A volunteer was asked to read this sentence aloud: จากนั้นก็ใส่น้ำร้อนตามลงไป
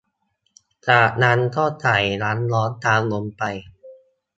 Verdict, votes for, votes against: accepted, 2, 0